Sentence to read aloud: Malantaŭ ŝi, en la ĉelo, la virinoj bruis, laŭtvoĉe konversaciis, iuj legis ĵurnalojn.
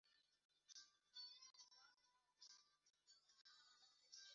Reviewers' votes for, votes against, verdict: 1, 2, rejected